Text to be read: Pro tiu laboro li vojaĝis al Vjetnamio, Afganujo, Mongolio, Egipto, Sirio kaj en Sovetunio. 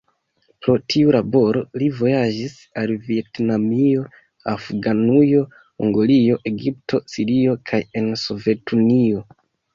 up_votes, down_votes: 2, 0